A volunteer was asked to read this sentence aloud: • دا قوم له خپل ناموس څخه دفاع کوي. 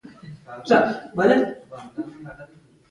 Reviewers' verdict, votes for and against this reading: rejected, 0, 2